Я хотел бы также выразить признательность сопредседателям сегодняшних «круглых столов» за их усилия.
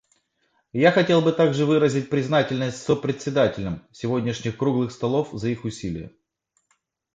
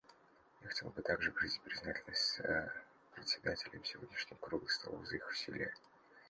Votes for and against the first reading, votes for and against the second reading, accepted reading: 2, 0, 1, 2, first